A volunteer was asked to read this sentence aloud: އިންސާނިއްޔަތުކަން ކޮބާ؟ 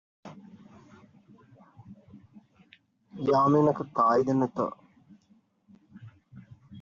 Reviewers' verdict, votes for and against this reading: rejected, 0, 2